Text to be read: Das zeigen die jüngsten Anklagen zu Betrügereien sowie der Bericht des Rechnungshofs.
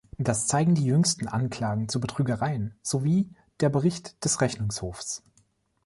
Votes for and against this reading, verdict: 2, 0, accepted